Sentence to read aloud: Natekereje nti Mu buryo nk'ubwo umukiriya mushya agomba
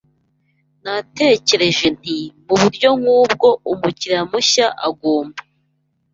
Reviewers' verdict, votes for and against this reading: accepted, 2, 0